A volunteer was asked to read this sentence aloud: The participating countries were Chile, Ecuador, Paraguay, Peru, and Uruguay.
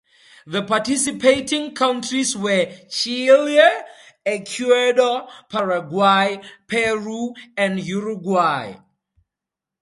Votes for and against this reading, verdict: 4, 0, accepted